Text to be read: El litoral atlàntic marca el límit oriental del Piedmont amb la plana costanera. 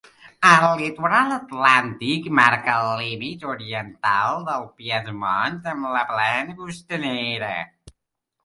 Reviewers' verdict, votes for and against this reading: accepted, 3, 1